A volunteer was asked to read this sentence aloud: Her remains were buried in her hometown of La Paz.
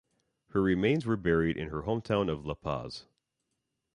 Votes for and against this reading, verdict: 2, 0, accepted